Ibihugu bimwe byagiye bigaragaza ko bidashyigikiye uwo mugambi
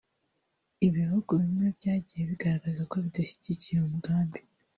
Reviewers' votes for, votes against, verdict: 2, 1, accepted